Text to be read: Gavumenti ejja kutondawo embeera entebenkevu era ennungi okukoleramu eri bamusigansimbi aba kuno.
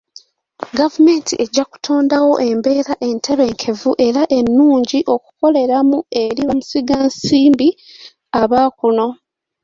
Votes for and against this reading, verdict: 3, 1, accepted